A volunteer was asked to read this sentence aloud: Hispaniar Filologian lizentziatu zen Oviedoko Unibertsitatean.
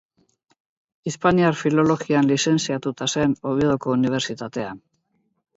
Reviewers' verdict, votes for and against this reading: rejected, 0, 2